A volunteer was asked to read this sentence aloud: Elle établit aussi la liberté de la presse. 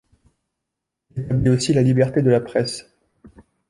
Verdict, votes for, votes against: rejected, 0, 2